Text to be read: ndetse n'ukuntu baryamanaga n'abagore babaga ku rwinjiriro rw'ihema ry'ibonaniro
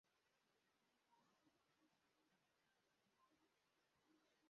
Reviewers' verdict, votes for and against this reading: rejected, 0, 2